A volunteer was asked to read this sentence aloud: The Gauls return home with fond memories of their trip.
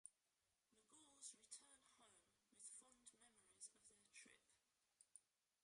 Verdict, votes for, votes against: rejected, 0, 2